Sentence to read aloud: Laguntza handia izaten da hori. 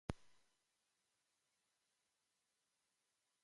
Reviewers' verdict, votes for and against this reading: rejected, 0, 3